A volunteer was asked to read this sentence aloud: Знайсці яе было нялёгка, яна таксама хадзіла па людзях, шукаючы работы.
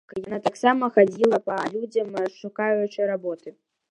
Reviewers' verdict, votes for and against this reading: rejected, 0, 2